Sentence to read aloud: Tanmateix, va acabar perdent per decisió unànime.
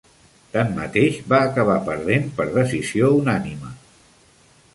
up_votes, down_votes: 2, 0